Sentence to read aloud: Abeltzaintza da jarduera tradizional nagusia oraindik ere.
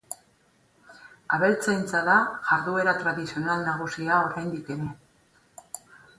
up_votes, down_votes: 4, 0